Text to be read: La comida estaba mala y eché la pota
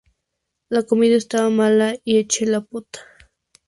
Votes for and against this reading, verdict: 4, 0, accepted